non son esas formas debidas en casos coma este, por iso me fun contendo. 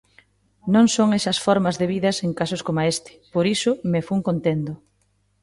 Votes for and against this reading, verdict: 2, 0, accepted